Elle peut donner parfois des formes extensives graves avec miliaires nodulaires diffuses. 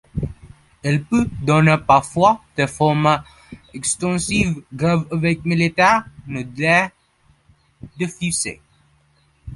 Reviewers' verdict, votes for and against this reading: rejected, 0, 2